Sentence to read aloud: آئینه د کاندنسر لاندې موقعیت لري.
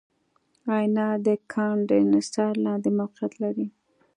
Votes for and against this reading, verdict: 2, 0, accepted